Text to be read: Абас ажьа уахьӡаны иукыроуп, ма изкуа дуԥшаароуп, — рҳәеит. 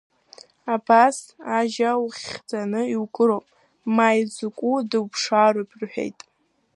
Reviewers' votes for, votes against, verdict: 0, 2, rejected